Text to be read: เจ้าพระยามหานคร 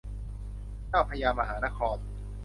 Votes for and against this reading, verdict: 2, 0, accepted